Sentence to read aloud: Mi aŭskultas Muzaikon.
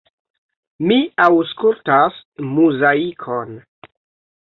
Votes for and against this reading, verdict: 3, 0, accepted